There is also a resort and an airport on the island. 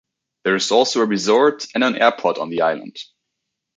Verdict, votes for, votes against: accepted, 3, 0